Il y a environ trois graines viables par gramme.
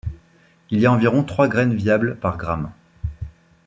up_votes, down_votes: 2, 0